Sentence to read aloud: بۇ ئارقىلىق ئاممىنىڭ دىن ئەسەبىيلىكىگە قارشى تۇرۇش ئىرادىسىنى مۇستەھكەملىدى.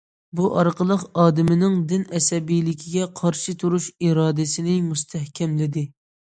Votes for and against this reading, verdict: 0, 2, rejected